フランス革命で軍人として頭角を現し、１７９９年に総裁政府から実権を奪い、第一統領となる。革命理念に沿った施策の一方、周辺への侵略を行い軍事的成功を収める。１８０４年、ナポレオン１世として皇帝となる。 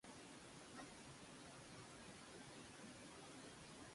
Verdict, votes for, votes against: rejected, 0, 2